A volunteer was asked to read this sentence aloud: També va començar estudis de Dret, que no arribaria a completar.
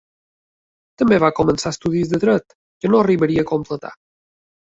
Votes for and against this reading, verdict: 3, 0, accepted